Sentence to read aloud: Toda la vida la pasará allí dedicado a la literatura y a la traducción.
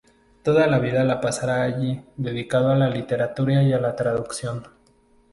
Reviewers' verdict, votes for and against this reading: rejected, 0, 2